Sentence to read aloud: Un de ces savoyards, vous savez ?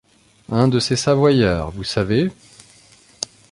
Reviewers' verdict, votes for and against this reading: accepted, 2, 1